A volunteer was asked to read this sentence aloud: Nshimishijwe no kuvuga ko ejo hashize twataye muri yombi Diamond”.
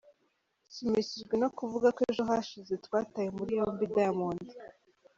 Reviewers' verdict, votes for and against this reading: accepted, 2, 0